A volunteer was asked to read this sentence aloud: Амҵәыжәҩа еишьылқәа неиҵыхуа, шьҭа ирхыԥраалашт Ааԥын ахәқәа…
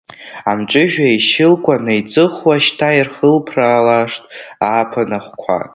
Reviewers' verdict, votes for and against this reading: rejected, 1, 2